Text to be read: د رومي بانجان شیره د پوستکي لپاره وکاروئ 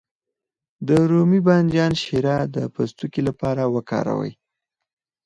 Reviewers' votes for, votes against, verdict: 4, 0, accepted